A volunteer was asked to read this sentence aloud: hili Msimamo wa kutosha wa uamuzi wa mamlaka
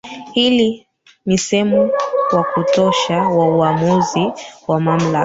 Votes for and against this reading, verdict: 1, 2, rejected